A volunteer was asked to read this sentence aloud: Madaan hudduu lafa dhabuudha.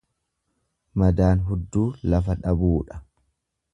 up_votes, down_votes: 2, 0